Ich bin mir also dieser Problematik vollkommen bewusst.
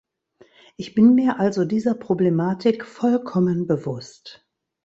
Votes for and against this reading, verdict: 2, 0, accepted